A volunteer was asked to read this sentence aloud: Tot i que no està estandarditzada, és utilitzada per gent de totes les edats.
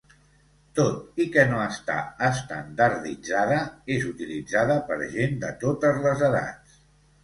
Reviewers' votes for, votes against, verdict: 2, 0, accepted